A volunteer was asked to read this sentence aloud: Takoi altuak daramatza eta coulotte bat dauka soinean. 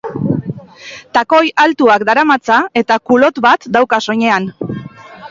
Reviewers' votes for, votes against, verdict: 4, 0, accepted